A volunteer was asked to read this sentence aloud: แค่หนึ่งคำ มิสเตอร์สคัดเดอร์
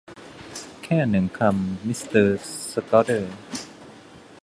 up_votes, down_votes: 2, 1